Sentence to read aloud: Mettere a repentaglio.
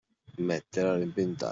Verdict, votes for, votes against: rejected, 0, 2